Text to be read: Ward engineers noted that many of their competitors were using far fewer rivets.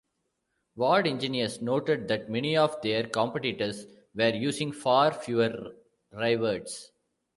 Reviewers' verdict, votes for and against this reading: rejected, 0, 2